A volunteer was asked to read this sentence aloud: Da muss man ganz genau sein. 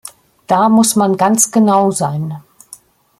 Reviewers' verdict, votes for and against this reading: accepted, 2, 0